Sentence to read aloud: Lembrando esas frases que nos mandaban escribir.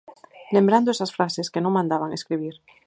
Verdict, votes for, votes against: rejected, 0, 4